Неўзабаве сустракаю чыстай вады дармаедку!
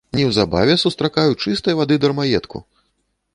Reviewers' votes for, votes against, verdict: 2, 0, accepted